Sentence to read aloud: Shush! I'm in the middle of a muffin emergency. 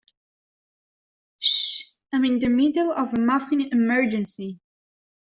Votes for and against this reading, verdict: 0, 2, rejected